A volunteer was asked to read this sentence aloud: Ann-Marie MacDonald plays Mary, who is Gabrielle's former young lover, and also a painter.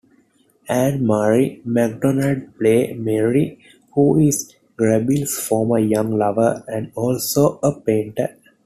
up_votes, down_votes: 0, 2